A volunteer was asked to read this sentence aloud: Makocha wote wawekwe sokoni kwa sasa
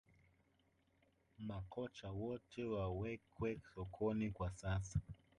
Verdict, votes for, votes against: rejected, 0, 2